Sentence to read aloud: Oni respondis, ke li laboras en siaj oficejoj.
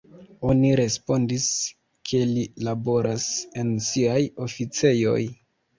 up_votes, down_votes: 2, 1